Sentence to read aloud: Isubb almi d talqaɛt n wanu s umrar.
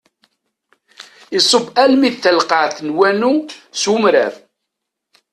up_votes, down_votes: 2, 0